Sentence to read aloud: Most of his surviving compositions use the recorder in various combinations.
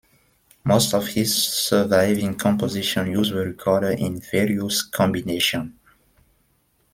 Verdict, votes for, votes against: rejected, 0, 2